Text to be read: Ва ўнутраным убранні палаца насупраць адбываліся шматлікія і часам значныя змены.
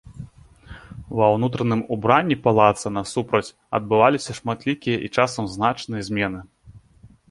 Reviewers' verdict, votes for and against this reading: accepted, 2, 0